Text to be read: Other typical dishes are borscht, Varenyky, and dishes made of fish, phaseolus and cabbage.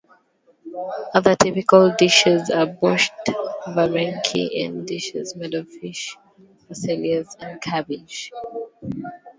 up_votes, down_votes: 0, 2